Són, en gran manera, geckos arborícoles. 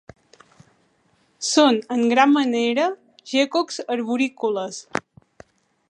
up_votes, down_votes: 3, 0